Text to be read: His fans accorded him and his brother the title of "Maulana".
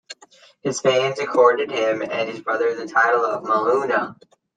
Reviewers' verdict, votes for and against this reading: rejected, 1, 2